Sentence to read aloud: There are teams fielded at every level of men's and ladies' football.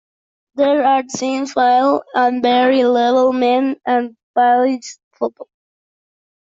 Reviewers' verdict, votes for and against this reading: rejected, 0, 2